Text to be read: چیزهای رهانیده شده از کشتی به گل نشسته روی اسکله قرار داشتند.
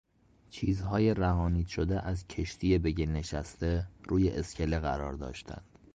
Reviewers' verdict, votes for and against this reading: rejected, 0, 2